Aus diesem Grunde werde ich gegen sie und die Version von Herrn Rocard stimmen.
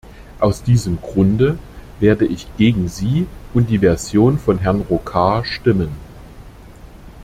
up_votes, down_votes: 2, 0